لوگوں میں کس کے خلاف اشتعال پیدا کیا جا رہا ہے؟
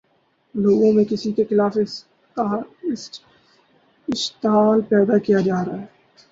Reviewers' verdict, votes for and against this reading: rejected, 0, 2